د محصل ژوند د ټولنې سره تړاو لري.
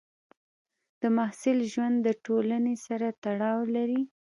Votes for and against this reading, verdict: 2, 0, accepted